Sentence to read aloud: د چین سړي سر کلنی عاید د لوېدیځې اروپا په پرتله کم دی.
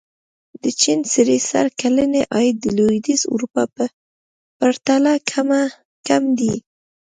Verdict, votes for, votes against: accepted, 2, 0